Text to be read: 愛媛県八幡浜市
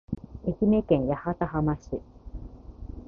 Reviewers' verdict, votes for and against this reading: accepted, 2, 0